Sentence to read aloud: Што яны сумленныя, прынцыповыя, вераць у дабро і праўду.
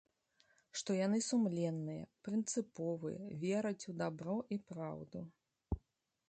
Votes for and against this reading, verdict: 1, 2, rejected